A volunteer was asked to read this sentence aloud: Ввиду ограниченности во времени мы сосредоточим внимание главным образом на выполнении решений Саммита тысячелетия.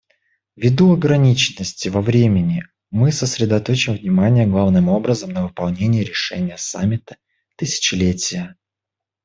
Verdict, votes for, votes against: accepted, 2, 0